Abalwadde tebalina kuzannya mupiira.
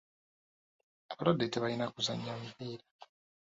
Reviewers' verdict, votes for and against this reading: rejected, 0, 3